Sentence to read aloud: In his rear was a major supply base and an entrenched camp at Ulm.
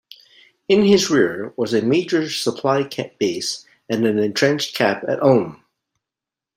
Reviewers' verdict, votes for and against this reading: rejected, 0, 2